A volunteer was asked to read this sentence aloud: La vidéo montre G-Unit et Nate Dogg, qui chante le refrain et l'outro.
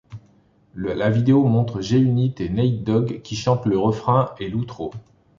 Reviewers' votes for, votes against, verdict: 1, 2, rejected